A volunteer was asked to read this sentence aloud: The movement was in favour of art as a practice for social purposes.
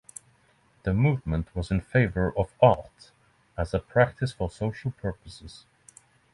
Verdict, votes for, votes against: accepted, 3, 0